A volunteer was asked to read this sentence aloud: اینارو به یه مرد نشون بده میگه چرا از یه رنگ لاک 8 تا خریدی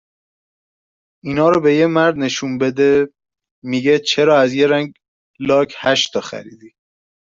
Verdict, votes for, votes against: rejected, 0, 2